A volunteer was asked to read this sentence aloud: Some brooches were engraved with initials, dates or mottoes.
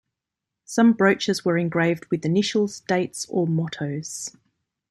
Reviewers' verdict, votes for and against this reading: accepted, 2, 0